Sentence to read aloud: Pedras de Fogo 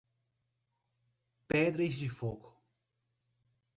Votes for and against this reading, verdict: 1, 2, rejected